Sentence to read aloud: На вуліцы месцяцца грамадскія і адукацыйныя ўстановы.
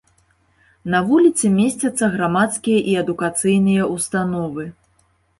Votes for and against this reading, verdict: 2, 0, accepted